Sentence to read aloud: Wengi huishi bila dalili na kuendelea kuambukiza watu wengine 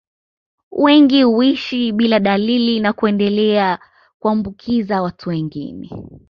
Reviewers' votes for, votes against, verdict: 2, 0, accepted